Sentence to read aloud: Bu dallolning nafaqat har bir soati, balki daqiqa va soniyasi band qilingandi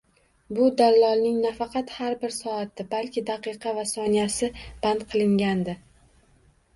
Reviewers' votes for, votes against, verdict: 2, 0, accepted